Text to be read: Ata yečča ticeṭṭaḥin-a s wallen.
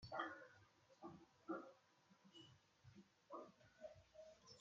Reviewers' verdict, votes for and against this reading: rejected, 0, 2